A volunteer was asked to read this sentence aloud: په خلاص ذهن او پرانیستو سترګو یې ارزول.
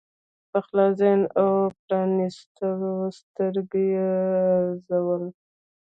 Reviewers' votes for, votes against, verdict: 0, 2, rejected